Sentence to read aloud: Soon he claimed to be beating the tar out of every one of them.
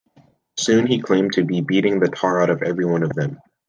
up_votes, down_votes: 2, 0